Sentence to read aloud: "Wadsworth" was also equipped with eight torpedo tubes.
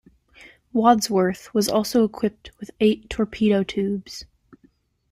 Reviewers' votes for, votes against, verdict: 2, 0, accepted